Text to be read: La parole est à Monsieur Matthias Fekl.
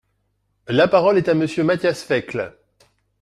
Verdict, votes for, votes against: accepted, 2, 1